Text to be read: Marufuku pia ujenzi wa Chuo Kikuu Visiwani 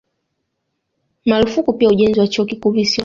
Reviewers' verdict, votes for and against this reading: accepted, 2, 1